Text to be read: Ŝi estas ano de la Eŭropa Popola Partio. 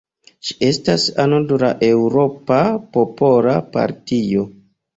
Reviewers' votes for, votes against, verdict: 2, 0, accepted